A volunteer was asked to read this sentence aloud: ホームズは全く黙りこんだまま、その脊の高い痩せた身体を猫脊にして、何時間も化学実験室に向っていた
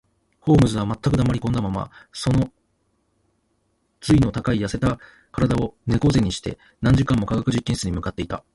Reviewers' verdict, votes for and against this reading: accepted, 2, 1